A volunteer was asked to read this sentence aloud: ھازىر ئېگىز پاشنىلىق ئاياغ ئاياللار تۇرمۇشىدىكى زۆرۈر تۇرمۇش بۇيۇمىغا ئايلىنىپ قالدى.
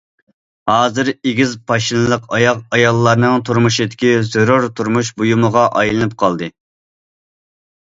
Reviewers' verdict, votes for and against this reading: rejected, 0, 2